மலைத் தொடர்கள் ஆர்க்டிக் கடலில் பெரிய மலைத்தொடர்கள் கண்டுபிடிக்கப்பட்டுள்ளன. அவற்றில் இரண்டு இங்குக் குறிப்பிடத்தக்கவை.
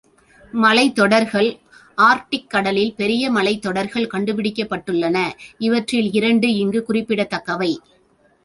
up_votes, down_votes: 1, 2